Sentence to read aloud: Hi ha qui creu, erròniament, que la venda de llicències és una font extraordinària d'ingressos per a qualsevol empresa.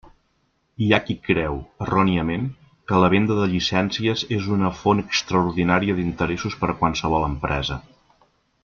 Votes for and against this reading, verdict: 0, 2, rejected